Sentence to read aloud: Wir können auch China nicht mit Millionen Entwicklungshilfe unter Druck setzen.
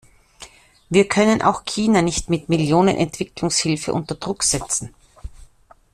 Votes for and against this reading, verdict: 2, 0, accepted